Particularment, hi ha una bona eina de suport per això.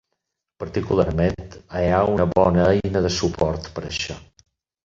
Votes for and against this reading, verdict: 0, 4, rejected